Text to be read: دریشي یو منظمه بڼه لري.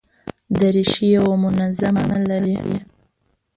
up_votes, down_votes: 0, 2